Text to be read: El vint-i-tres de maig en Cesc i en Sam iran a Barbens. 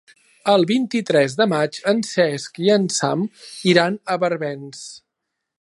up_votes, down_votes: 3, 0